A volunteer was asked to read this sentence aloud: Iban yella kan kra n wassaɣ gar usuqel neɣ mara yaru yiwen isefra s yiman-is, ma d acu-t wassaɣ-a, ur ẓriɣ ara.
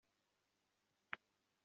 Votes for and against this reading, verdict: 0, 2, rejected